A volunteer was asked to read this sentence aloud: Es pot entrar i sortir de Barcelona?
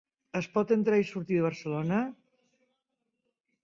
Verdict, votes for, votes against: accepted, 3, 0